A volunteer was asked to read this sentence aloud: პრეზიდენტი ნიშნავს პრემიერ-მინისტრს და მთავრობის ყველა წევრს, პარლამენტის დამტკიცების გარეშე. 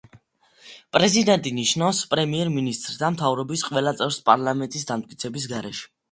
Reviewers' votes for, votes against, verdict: 2, 0, accepted